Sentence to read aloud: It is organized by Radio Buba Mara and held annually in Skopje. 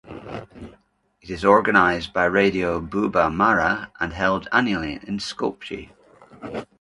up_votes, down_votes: 2, 0